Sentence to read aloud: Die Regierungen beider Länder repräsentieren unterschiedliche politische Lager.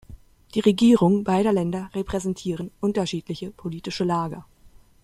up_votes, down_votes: 0, 2